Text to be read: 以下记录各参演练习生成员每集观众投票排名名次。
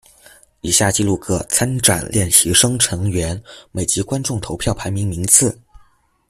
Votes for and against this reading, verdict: 0, 2, rejected